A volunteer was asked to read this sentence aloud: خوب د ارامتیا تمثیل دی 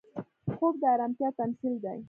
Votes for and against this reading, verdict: 2, 1, accepted